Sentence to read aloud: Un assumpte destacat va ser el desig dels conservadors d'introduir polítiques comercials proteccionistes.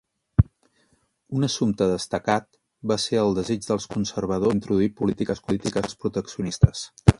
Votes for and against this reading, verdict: 1, 2, rejected